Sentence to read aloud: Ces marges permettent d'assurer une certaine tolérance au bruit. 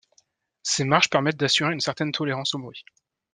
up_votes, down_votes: 2, 0